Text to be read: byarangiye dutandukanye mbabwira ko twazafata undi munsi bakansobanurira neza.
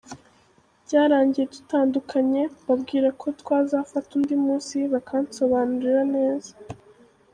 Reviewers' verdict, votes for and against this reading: accepted, 3, 1